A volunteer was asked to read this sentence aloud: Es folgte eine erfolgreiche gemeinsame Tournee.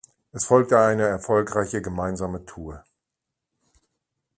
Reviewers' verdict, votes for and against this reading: rejected, 1, 2